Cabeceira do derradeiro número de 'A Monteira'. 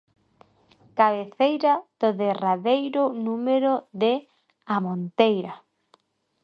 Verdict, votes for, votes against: accepted, 2, 0